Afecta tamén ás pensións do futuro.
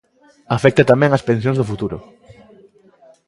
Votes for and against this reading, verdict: 2, 0, accepted